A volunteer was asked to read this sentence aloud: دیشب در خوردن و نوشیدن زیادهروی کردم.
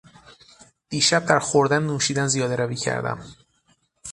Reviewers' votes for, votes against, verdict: 6, 0, accepted